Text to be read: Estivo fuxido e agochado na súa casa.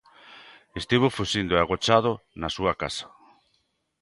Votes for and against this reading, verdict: 0, 2, rejected